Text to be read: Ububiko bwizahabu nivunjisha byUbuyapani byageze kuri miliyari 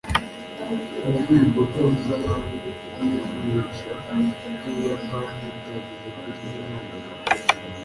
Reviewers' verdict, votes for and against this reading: rejected, 0, 2